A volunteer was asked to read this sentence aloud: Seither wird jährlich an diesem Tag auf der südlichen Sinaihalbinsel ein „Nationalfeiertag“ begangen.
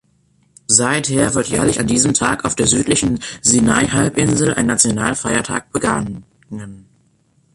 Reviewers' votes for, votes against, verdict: 2, 3, rejected